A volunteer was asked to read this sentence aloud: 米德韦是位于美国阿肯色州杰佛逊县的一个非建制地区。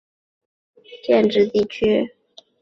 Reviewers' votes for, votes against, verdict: 0, 2, rejected